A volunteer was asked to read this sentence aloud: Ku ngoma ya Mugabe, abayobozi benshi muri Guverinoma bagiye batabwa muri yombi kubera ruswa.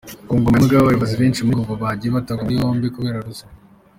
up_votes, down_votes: 2, 3